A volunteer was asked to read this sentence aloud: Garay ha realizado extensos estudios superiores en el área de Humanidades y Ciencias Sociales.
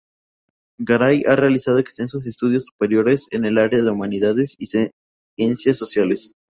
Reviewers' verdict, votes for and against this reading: rejected, 0, 2